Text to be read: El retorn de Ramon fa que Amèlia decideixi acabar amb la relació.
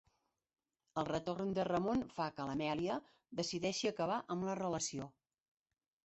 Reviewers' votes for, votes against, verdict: 2, 1, accepted